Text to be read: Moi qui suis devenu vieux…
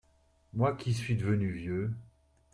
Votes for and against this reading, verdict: 2, 1, accepted